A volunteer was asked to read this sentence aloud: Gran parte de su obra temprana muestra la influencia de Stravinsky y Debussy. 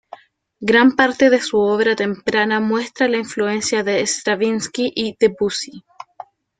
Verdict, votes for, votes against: accepted, 3, 0